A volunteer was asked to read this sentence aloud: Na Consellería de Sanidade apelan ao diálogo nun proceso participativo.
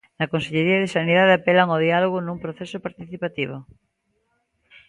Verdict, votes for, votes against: accepted, 2, 0